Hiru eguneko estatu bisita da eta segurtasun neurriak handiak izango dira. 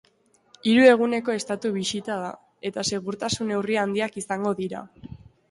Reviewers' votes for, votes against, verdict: 0, 2, rejected